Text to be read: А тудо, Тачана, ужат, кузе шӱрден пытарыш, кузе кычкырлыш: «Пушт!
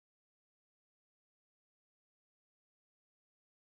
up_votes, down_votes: 1, 2